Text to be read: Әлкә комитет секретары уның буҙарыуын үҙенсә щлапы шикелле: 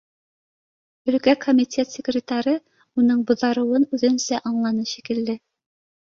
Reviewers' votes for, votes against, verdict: 2, 0, accepted